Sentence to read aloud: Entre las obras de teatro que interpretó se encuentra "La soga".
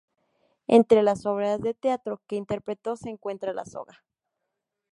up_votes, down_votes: 2, 0